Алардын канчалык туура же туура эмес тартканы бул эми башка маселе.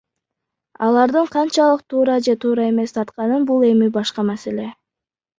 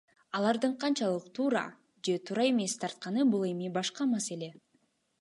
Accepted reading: second